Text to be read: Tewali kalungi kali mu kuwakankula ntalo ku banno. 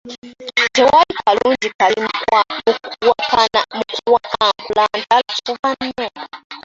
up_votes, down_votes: 0, 2